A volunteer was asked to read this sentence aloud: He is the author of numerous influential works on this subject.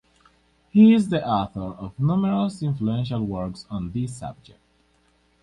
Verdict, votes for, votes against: accepted, 4, 0